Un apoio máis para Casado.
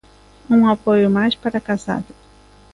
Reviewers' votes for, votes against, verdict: 2, 0, accepted